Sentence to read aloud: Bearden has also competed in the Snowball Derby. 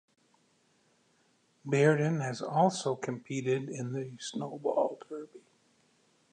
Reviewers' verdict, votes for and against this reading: rejected, 0, 2